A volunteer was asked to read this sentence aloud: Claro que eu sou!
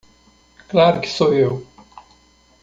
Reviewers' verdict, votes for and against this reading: rejected, 1, 2